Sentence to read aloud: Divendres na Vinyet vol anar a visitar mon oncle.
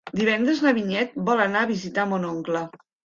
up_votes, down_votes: 3, 0